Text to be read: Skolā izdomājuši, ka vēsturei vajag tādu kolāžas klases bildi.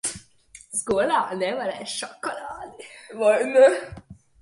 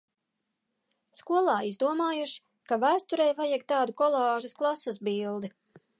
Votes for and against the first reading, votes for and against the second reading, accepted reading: 0, 2, 2, 0, second